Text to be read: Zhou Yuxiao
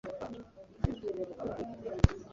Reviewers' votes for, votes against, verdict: 0, 2, rejected